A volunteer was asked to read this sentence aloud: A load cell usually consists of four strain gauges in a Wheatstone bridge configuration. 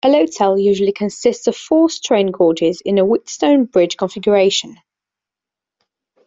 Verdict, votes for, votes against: rejected, 0, 2